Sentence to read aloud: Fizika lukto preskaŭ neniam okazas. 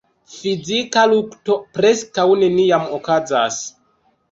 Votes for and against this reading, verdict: 0, 2, rejected